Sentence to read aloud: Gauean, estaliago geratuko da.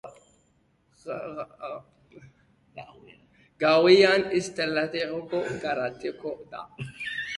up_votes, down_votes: 0, 2